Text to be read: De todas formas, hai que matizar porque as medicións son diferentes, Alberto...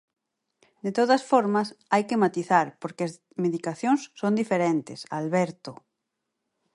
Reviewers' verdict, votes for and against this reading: rejected, 2, 4